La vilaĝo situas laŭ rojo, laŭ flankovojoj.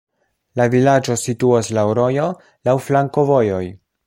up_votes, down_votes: 2, 0